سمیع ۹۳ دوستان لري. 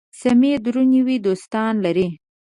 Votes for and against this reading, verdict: 0, 2, rejected